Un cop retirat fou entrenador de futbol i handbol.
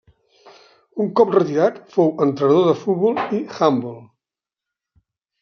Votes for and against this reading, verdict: 0, 2, rejected